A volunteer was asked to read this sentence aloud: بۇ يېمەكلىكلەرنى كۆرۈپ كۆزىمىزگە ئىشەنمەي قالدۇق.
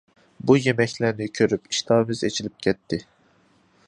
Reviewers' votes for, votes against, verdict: 0, 2, rejected